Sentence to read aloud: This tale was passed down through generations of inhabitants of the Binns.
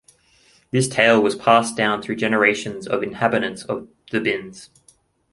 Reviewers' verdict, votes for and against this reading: accepted, 2, 1